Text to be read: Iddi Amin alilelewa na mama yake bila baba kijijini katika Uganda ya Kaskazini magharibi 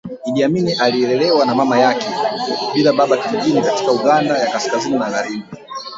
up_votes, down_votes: 1, 2